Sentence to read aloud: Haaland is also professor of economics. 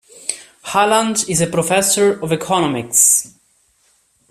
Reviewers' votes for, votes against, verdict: 0, 2, rejected